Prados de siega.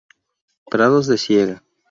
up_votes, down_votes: 0, 2